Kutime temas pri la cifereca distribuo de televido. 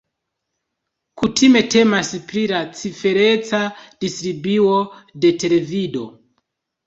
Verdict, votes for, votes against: accepted, 2, 1